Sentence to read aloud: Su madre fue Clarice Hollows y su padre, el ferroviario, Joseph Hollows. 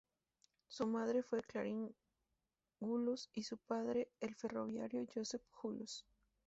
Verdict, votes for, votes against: accepted, 2, 0